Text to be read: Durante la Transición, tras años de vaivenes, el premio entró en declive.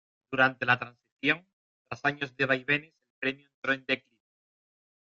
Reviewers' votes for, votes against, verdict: 0, 3, rejected